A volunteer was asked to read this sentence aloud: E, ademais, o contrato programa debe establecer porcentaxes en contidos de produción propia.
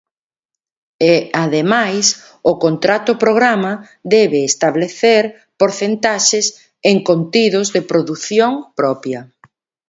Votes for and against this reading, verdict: 2, 0, accepted